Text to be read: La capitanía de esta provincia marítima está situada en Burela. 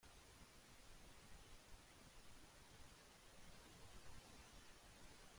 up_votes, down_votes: 0, 2